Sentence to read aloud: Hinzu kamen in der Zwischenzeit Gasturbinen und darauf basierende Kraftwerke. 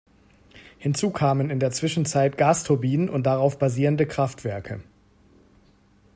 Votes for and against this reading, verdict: 2, 0, accepted